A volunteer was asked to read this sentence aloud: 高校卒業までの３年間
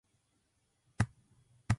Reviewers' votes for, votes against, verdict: 0, 2, rejected